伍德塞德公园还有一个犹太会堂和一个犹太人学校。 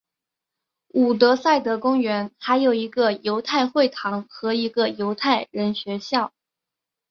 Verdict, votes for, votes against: accepted, 2, 0